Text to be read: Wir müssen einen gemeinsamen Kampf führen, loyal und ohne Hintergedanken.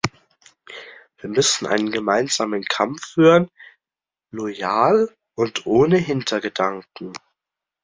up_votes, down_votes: 2, 0